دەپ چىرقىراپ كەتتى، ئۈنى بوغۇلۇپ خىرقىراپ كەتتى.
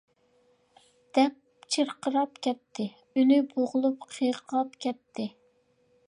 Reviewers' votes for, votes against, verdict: 0, 2, rejected